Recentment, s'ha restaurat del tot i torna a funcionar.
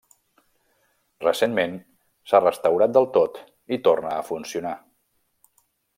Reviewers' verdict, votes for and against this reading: rejected, 1, 2